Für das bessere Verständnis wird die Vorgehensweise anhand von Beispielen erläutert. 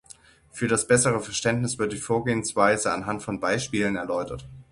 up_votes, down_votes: 6, 0